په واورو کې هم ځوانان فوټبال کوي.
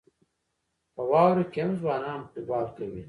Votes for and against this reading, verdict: 0, 2, rejected